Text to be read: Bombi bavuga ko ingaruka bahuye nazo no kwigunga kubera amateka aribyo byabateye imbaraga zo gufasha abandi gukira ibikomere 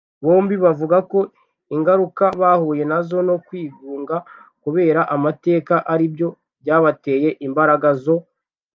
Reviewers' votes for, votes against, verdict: 1, 2, rejected